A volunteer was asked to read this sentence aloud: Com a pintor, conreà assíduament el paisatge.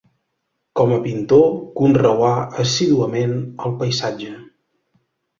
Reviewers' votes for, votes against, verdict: 2, 1, accepted